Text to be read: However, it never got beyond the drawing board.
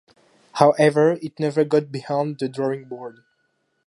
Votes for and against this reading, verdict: 0, 2, rejected